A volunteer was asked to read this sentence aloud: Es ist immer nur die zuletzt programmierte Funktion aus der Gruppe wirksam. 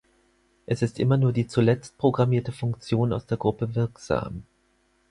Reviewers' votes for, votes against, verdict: 4, 2, accepted